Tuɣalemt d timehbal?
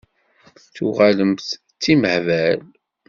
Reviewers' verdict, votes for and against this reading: accepted, 2, 0